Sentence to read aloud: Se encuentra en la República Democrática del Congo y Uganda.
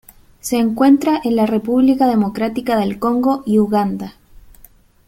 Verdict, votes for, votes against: accepted, 2, 0